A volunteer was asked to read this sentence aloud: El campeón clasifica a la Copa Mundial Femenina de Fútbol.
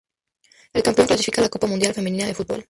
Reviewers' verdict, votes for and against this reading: rejected, 0, 2